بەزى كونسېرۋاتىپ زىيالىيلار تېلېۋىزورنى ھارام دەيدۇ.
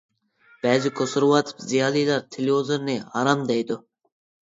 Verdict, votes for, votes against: accepted, 2, 0